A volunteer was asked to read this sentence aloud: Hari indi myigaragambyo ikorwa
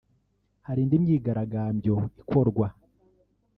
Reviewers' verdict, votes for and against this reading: rejected, 1, 2